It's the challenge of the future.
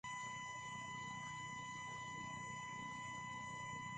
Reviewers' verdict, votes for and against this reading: rejected, 1, 2